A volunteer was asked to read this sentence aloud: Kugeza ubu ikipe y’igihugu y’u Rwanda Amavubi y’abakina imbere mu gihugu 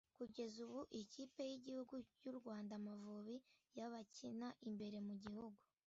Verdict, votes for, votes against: accepted, 2, 0